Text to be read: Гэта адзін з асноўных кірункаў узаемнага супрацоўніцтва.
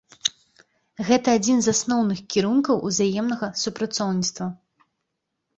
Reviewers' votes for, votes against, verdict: 2, 0, accepted